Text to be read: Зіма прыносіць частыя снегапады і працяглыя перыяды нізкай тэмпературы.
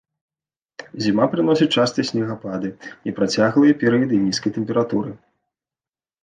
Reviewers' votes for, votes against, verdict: 2, 0, accepted